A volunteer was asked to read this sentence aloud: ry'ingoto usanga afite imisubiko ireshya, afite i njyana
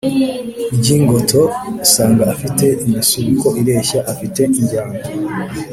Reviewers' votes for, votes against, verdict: 2, 0, accepted